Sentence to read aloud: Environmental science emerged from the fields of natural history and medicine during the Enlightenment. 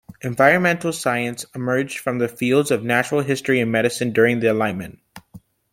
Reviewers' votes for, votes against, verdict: 3, 0, accepted